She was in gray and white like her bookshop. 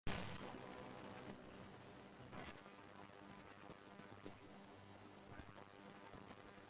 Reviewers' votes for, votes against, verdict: 0, 4, rejected